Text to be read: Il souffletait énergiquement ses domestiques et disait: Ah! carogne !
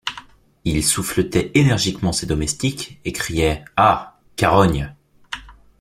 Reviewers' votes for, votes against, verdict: 1, 2, rejected